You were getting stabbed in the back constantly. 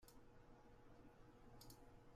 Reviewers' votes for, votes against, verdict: 0, 2, rejected